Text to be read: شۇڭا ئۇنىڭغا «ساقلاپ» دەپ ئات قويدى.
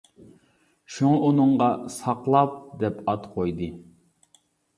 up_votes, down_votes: 2, 0